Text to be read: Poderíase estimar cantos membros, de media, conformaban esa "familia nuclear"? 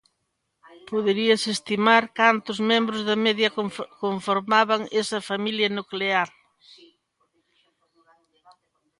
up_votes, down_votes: 0, 2